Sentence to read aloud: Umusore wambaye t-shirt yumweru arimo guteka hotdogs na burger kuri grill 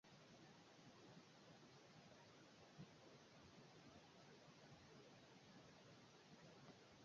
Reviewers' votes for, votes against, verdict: 0, 2, rejected